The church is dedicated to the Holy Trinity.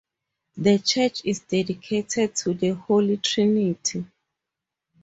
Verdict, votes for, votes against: accepted, 4, 0